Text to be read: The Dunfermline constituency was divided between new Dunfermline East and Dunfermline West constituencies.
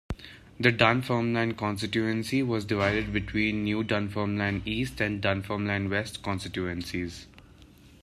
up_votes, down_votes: 2, 0